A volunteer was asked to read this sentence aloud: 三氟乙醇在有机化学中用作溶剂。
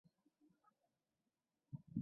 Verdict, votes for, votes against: rejected, 0, 2